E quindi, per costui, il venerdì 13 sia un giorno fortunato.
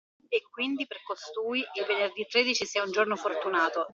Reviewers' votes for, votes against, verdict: 0, 2, rejected